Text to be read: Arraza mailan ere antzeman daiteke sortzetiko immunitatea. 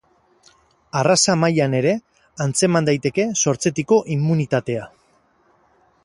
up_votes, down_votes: 4, 0